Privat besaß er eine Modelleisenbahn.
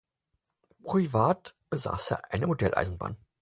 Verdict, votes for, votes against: accepted, 4, 0